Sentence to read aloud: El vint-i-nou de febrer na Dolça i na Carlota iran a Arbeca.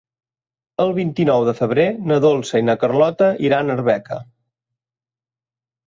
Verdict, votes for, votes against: accepted, 3, 1